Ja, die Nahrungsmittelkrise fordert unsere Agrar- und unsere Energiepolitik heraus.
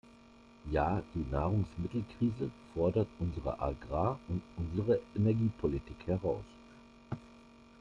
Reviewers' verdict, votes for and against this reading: rejected, 0, 2